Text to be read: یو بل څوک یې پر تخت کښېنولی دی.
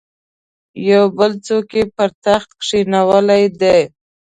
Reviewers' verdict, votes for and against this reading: accepted, 3, 0